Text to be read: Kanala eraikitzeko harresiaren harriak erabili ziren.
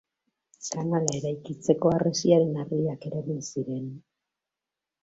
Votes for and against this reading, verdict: 1, 2, rejected